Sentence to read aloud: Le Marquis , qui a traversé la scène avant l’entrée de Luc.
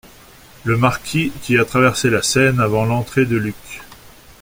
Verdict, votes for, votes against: accepted, 2, 0